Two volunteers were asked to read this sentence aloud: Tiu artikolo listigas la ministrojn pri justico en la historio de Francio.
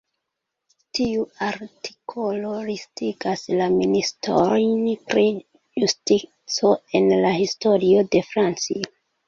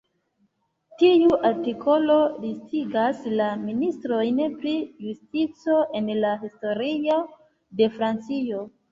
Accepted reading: second